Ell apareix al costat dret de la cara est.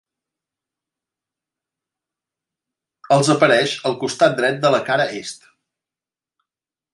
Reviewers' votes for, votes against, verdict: 0, 2, rejected